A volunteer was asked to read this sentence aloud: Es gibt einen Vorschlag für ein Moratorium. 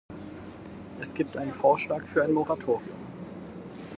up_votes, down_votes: 4, 2